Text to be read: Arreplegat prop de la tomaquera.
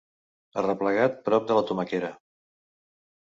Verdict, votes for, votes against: accepted, 2, 0